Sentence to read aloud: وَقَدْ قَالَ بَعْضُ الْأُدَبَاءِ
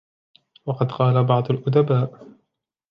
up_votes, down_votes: 2, 0